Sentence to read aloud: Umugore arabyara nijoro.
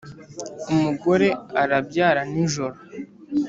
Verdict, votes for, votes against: accepted, 3, 0